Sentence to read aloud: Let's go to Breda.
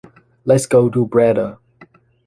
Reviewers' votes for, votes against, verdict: 2, 0, accepted